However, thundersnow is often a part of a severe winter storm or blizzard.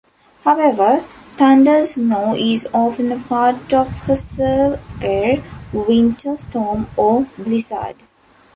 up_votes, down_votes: 2, 1